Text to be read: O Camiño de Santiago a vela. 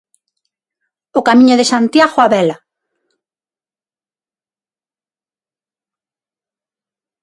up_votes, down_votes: 6, 0